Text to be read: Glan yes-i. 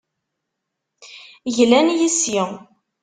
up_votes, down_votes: 0, 2